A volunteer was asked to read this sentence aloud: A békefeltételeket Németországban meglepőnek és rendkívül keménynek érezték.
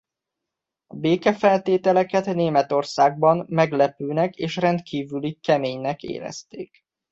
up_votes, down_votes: 1, 2